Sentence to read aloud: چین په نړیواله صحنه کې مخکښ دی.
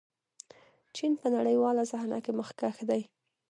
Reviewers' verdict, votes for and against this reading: rejected, 1, 2